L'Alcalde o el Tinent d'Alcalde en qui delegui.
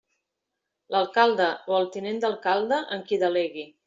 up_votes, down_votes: 3, 0